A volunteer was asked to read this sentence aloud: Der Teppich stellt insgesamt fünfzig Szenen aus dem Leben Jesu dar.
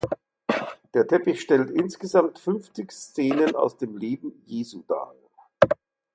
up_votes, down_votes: 4, 0